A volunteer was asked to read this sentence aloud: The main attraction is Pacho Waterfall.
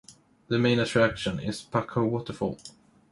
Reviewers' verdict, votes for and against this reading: accepted, 2, 0